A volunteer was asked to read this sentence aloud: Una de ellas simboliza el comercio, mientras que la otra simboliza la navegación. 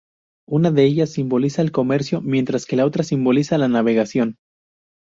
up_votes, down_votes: 4, 0